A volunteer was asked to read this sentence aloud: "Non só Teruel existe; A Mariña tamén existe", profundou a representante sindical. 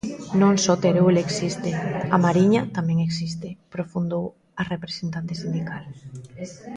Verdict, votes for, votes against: accepted, 2, 0